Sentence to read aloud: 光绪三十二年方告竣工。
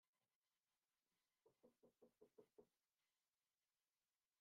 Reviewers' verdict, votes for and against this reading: rejected, 0, 2